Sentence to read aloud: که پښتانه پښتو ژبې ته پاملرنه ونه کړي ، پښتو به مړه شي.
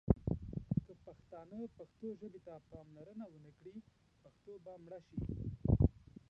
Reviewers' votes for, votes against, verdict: 0, 2, rejected